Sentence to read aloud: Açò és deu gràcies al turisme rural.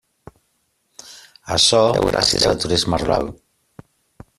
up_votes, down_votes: 0, 2